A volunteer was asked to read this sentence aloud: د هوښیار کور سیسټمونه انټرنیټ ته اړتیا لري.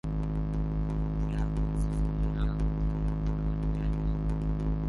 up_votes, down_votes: 0, 3